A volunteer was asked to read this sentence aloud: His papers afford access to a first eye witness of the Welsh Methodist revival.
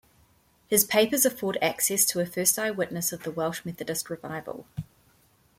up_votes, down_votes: 2, 0